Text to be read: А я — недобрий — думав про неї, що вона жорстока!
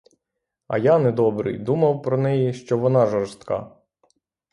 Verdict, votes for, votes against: rejected, 0, 3